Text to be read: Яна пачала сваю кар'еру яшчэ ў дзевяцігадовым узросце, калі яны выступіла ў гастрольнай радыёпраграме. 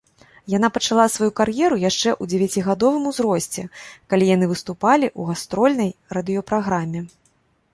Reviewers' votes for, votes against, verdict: 0, 2, rejected